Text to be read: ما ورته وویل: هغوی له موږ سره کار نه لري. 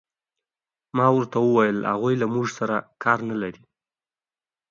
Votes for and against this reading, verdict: 2, 0, accepted